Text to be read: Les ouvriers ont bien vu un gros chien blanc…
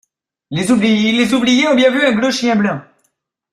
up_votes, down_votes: 0, 2